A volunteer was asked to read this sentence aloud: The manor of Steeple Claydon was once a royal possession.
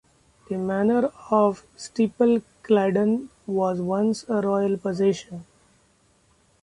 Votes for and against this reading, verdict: 2, 0, accepted